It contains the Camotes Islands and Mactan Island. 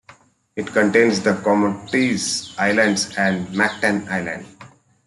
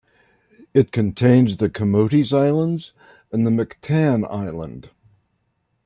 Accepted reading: second